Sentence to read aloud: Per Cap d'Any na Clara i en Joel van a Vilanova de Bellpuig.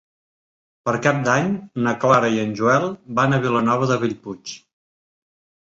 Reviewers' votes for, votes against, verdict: 3, 0, accepted